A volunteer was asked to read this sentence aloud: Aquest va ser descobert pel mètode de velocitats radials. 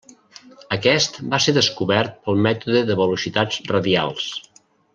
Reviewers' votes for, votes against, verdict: 0, 2, rejected